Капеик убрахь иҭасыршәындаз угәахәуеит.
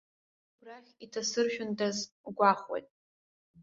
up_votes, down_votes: 1, 2